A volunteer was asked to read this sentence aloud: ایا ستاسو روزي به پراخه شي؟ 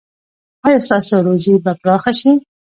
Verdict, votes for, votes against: rejected, 0, 2